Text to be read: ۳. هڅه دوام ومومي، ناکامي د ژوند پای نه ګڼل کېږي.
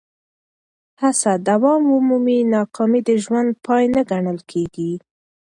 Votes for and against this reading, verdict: 0, 2, rejected